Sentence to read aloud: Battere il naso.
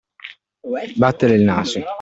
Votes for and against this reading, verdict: 2, 0, accepted